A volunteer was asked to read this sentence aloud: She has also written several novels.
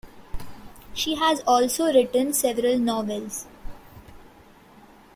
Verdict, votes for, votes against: accepted, 2, 0